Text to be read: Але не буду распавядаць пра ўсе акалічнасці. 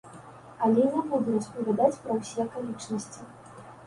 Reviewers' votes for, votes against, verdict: 2, 0, accepted